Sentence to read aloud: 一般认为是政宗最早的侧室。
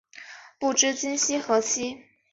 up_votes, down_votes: 0, 2